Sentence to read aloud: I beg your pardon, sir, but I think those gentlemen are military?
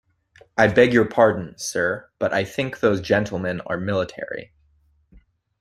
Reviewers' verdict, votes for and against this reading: accepted, 2, 1